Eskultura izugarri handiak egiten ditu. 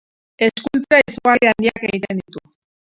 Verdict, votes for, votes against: rejected, 0, 2